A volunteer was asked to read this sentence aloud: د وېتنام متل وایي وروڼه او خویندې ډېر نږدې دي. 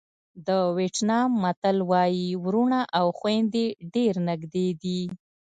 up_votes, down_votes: 2, 0